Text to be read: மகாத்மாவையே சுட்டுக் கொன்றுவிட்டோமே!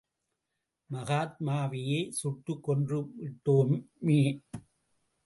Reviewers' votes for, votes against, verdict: 0, 2, rejected